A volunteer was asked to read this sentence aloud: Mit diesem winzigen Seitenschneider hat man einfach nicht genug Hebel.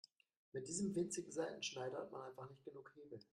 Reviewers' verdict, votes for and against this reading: rejected, 1, 2